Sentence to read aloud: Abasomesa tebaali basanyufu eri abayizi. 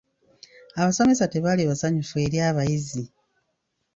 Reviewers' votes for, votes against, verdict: 2, 0, accepted